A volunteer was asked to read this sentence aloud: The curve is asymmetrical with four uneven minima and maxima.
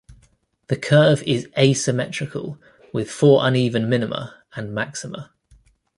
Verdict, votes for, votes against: accepted, 2, 0